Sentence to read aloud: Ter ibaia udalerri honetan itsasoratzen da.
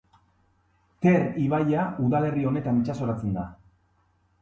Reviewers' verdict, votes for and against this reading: accepted, 2, 0